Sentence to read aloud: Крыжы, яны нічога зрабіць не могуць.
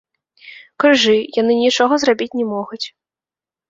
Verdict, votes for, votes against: accepted, 2, 0